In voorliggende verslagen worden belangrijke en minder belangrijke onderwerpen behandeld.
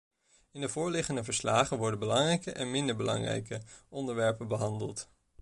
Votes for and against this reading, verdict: 1, 2, rejected